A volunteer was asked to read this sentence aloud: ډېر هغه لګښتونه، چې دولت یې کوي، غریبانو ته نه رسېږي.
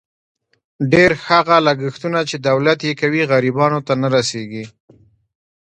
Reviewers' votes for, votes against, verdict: 1, 2, rejected